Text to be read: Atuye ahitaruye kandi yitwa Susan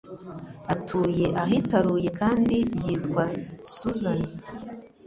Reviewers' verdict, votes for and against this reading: accepted, 2, 0